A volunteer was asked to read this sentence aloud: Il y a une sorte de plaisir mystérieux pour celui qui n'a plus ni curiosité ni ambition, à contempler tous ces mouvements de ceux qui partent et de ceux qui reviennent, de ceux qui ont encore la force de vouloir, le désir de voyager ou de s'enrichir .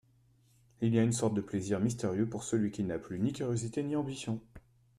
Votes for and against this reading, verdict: 0, 2, rejected